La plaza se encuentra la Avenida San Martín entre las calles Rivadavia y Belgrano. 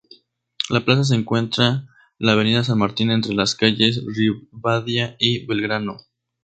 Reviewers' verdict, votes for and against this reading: accepted, 2, 0